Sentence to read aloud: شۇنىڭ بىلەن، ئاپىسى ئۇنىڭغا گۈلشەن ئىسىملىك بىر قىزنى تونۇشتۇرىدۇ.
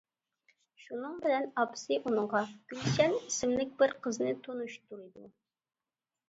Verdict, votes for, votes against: accepted, 2, 1